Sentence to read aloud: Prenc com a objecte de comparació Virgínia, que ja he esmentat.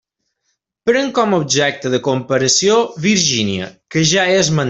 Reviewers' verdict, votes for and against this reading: rejected, 0, 2